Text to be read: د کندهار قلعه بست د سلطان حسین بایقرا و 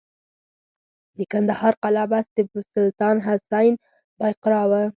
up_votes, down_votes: 0, 4